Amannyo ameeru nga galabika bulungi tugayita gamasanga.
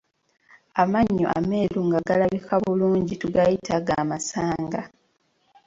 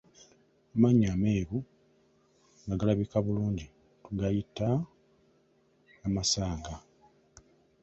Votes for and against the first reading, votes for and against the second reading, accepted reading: 2, 0, 0, 2, first